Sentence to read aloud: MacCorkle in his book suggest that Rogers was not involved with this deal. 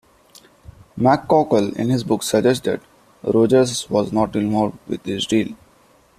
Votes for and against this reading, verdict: 1, 2, rejected